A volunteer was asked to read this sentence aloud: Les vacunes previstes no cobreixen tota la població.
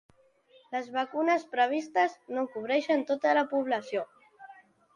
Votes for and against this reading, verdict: 2, 1, accepted